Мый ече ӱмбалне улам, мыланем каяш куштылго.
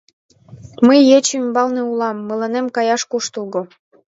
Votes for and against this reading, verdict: 2, 0, accepted